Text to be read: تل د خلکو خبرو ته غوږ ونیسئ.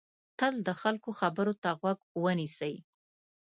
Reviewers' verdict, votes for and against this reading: accepted, 2, 0